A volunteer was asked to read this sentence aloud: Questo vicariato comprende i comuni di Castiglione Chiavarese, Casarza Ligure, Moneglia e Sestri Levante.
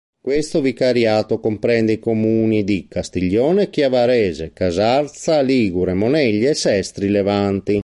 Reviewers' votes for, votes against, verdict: 0, 2, rejected